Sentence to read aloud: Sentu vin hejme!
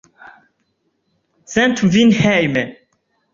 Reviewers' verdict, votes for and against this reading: accepted, 2, 0